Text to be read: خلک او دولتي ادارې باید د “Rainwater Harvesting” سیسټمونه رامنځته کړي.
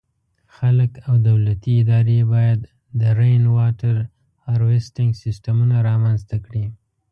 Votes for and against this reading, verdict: 1, 2, rejected